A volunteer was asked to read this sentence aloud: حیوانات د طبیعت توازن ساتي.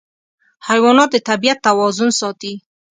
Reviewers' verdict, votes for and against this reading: accepted, 2, 0